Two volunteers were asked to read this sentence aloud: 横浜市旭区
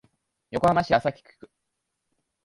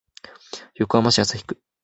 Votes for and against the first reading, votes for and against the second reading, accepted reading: 0, 2, 3, 0, second